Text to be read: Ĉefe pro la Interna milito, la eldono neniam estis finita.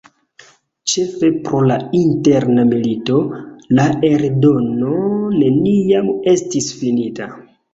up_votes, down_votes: 2, 1